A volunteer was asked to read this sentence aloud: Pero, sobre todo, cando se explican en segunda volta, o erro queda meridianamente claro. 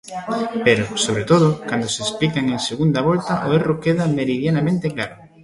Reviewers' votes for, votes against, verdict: 2, 0, accepted